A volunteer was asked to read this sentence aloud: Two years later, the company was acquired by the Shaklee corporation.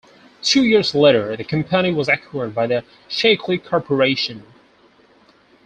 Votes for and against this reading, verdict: 0, 4, rejected